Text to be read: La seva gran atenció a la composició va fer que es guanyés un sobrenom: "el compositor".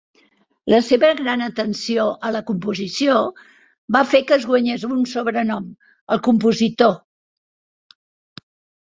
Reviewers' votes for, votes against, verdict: 3, 0, accepted